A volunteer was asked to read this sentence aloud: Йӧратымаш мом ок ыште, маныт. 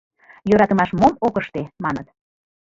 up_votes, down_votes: 1, 2